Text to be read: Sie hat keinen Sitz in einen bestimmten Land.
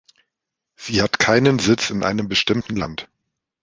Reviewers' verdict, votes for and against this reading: rejected, 0, 2